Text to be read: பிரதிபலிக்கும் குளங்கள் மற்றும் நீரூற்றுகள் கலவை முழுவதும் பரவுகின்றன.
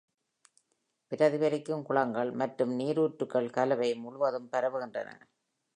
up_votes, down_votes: 2, 1